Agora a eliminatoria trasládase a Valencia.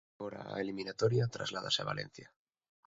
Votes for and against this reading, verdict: 1, 2, rejected